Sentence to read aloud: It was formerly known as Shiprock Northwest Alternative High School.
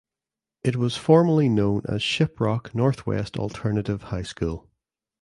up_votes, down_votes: 2, 0